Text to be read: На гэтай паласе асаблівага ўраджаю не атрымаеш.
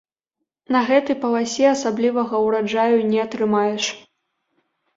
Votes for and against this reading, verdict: 2, 0, accepted